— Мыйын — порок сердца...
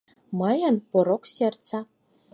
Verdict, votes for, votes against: accepted, 4, 0